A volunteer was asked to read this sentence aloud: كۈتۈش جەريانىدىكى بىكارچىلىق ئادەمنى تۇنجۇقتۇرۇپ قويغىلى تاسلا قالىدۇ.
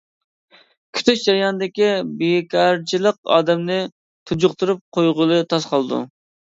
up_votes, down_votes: 0, 2